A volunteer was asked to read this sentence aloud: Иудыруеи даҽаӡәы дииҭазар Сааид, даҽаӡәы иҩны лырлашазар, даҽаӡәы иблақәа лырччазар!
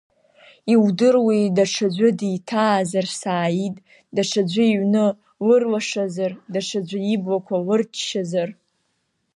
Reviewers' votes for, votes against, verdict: 1, 2, rejected